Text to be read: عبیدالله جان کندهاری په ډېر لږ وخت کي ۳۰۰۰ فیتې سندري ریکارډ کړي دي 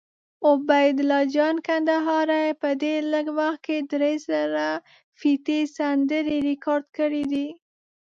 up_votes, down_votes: 0, 2